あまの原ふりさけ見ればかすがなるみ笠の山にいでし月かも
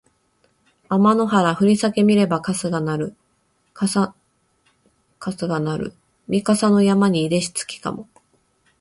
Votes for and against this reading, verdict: 2, 0, accepted